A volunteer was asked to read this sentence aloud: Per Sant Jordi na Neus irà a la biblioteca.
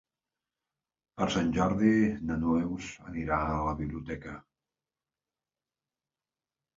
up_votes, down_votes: 1, 2